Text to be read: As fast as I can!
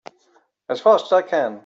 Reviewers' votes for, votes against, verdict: 2, 4, rejected